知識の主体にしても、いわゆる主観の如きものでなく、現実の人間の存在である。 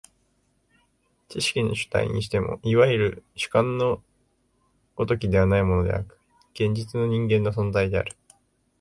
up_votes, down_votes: 1, 2